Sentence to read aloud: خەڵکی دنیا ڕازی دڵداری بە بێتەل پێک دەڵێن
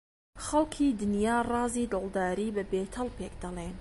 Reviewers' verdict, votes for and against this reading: accepted, 2, 1